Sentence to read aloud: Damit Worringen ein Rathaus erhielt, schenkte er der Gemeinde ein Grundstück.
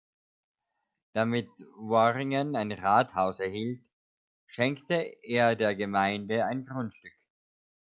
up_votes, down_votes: 2, 0